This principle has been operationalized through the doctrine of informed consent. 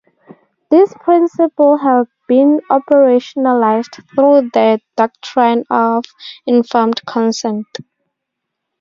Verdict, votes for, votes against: rejected, 2, 4